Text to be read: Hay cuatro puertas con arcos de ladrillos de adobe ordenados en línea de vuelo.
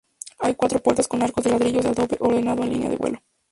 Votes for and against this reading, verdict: 0, 2, rejected